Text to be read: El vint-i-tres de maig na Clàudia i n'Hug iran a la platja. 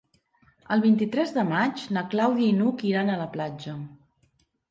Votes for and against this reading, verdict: 3, 0, accepted